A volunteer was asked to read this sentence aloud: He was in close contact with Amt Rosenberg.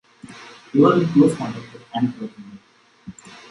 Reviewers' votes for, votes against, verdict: 0, 2, rejected